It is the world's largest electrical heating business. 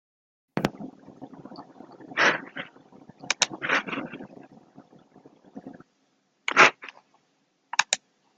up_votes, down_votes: 0, 2